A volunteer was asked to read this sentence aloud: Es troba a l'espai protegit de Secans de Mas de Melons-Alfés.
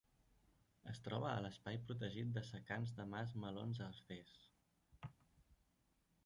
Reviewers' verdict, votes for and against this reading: rejected, 0, 2